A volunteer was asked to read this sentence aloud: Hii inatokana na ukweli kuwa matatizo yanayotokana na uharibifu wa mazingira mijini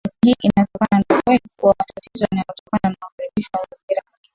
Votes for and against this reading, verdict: 0, 2, rejected